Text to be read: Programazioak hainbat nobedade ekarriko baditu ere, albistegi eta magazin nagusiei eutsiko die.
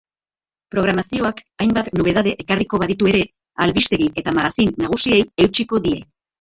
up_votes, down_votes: 2, 2